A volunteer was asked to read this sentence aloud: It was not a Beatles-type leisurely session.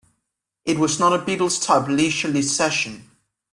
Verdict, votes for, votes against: accepted, 2, 0